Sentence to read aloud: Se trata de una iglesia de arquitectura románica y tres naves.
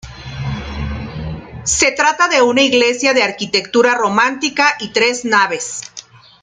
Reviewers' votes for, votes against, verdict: 0, 2, rejected